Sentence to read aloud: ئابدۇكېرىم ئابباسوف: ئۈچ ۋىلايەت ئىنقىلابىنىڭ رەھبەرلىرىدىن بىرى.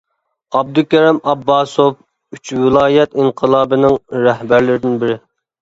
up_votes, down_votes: 3, 0